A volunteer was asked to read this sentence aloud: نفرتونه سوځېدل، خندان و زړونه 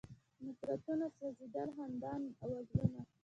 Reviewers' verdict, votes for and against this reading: rejected, 1, 2